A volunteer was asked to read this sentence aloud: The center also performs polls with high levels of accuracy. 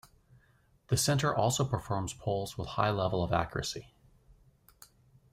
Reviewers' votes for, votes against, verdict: 2, 0, accepted